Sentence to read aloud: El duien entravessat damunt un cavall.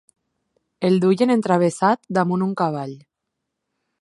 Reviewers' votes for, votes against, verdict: 6, 0, accepted